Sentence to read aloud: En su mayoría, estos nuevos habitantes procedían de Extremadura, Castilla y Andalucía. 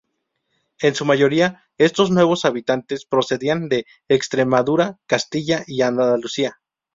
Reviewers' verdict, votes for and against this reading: rejected, 2, 2